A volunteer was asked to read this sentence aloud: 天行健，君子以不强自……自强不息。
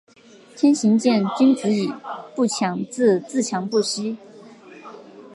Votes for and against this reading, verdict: 2, 1, accepted